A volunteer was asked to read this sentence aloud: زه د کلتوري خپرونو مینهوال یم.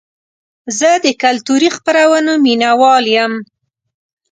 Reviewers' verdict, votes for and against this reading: accepted, 2, 0